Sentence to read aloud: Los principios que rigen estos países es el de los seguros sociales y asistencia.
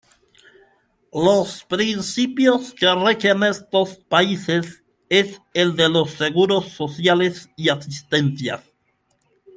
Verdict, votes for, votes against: rejected, 1, 2